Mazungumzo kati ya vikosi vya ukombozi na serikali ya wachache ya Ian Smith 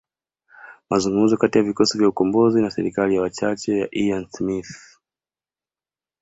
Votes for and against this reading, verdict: 2, 0, accepted